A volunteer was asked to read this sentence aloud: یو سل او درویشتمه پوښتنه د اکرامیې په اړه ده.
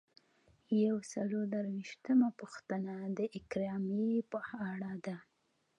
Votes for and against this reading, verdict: 1, 2, rejected